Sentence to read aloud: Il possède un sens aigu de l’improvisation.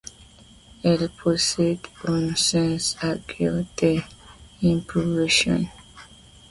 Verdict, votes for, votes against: rejected, 1, 2